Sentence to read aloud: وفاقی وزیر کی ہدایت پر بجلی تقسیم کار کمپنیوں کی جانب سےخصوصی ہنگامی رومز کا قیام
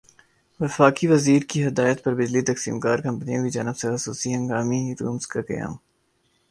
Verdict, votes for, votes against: rejected, 2, 3